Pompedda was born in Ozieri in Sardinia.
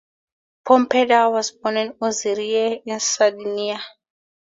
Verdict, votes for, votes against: accepted, 2, 0